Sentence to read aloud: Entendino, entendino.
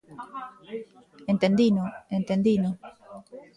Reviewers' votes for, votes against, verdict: 2, 1, accepted